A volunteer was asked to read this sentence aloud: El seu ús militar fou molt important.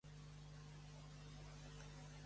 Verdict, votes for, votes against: rejected, 0, 2